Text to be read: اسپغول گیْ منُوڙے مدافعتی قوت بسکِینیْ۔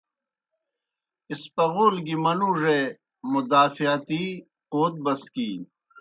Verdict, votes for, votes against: accepted, 2, 0